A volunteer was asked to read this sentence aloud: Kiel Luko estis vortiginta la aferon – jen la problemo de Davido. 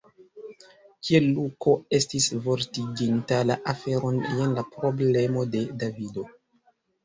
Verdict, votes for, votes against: rejected, 1, 2